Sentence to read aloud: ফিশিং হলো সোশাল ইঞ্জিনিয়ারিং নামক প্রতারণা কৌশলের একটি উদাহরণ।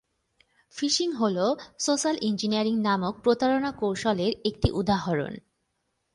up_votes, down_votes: 9, 2